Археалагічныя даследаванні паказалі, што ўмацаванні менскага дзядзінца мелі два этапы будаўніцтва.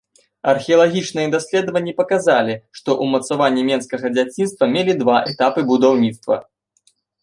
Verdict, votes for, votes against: rejected, 1, 2